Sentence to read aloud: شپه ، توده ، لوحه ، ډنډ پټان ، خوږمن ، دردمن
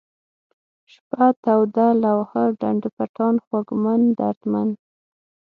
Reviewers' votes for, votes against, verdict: 6, 0, accepted